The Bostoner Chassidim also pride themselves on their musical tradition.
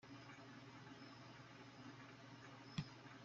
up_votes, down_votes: 0, 2